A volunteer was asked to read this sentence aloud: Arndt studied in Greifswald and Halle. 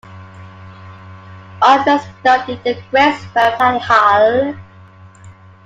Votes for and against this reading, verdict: 0, 2, rejected